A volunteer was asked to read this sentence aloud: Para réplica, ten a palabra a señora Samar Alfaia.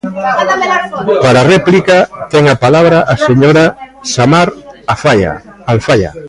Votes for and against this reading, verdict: 0, 2, rejected